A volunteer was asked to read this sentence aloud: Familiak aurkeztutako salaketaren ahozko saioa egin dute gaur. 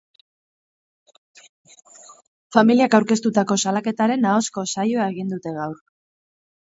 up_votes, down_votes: 2, 2